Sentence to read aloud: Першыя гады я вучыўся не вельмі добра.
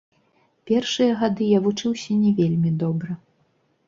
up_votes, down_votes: 1, 2